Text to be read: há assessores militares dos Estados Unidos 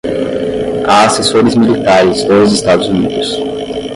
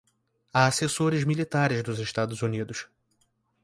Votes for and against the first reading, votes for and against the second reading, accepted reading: 5, 5, 2, 0, second